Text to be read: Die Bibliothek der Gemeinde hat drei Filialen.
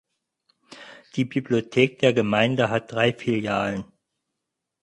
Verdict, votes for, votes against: accepted, 4, 0